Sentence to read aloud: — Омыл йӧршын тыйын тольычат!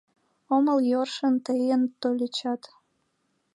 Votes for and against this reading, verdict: 0, 2, rejected